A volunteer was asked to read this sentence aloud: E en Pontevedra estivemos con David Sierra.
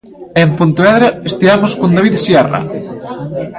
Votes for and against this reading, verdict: 2, 1, accepted